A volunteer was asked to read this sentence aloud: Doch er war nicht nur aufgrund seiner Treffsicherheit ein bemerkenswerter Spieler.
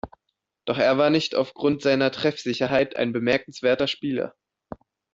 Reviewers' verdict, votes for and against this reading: rejected, 0, 2